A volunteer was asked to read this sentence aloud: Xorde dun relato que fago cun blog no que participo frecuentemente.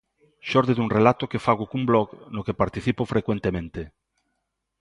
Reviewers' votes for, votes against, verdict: 2, 0, accepted